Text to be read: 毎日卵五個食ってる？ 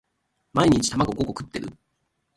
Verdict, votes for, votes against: accepted, 2, 0